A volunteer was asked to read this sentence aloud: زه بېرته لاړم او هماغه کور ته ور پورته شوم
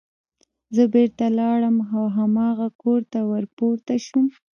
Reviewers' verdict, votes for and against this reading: rejected, 1, 3